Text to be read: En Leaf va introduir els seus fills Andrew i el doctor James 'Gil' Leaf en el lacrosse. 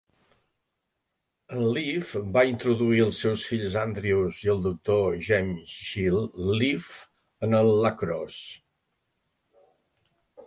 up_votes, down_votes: 1, 2